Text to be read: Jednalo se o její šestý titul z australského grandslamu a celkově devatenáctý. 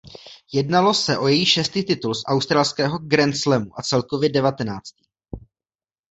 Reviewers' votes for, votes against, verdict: 1, 2, rejected